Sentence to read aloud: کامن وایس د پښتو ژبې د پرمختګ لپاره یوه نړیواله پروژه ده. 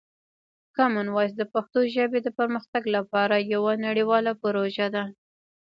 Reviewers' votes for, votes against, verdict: 0, 2, rejected